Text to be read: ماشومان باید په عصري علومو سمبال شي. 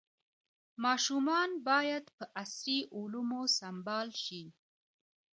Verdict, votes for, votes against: rejected, 1, 2